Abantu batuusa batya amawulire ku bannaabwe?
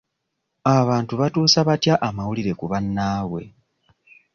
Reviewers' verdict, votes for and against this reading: rejected, 0, 2